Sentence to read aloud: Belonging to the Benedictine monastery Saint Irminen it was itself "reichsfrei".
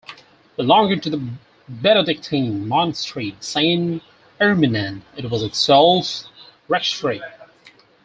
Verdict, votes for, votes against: accepted, 4, 2